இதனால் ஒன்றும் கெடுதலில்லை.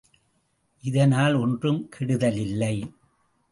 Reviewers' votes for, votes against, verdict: 2, 0, accepted